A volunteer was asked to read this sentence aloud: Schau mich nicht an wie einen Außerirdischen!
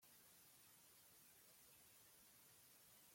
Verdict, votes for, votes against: rejected, 0, 2